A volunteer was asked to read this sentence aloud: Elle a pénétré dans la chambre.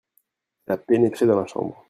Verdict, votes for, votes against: rejected, 1, 2